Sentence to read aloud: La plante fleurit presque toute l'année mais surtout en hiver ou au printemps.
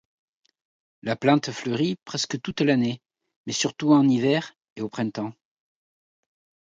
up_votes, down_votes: 0, 2